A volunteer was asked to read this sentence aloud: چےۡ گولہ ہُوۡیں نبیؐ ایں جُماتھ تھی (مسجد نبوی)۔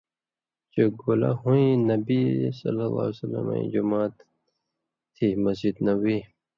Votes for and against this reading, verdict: 2, 0, accepted